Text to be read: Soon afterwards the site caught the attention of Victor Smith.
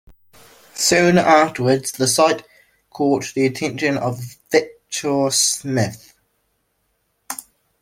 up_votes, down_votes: 1, 2